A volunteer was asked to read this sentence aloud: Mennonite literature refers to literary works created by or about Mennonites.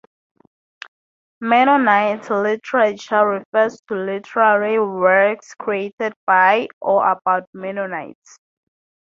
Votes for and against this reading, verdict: 4, 0, accepted